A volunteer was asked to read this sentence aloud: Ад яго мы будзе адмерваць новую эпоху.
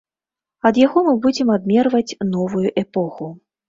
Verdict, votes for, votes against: rejected, 0, 2